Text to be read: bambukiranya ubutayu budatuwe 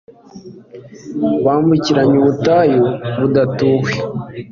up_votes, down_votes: 2, 0